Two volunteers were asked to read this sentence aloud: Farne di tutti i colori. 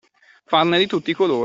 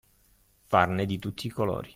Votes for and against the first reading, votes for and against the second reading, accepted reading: 1, 2, 2, 0, second